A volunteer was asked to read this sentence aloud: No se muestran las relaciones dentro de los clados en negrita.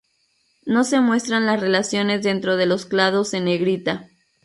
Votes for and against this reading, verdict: 0, 2, rejected